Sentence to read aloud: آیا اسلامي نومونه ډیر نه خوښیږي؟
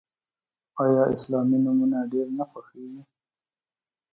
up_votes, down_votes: 2, 0